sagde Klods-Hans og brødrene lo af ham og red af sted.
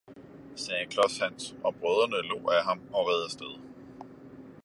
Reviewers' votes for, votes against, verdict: 2, 0, accepted